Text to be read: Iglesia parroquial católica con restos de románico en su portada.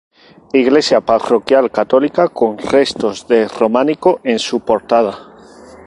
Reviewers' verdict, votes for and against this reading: rejected, 2, 2